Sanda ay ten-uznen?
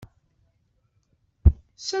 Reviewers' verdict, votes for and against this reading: rejected, 0, 2